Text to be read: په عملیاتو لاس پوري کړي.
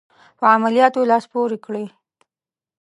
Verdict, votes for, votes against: accepted, 2, 0